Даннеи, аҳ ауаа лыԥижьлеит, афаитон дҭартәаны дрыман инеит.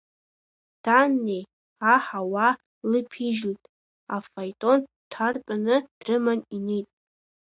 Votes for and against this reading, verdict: 0, 2, rejected